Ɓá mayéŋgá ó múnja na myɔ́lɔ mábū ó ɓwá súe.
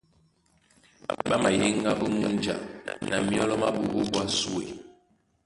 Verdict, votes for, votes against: rejected, 1, 2